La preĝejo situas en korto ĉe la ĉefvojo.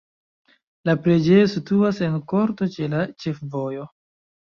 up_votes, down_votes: 1, 2